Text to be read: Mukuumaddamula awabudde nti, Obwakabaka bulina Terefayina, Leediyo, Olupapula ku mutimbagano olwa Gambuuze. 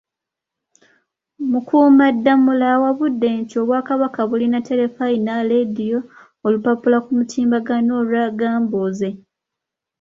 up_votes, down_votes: 2, 0